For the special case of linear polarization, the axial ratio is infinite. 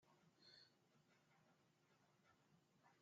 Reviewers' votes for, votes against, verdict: 0, 2, rejected